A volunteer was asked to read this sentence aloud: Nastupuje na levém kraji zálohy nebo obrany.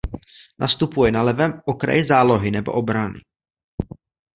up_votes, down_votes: 0, 2